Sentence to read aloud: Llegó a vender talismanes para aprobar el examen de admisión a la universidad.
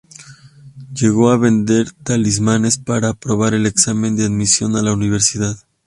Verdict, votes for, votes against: accepted, 2, 0